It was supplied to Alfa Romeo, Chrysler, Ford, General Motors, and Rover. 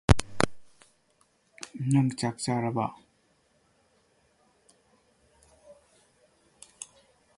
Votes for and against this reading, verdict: 0, 2, rejected